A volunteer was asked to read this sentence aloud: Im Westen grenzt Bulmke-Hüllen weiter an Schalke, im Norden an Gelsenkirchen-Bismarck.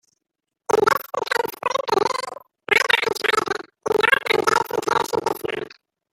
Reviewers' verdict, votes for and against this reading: rejected, 0, 2